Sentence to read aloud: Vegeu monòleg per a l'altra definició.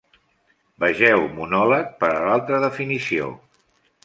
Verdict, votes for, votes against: accepted, 3, 0